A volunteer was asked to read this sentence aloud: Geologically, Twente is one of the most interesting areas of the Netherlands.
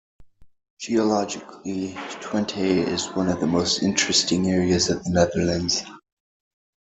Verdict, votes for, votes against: accepted, 2, 0